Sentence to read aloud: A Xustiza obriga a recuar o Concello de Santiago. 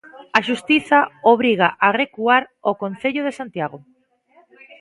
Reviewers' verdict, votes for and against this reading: accepted, 2, 0